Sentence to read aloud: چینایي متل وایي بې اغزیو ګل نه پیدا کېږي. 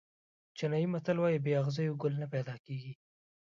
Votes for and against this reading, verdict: 2, 1, accepted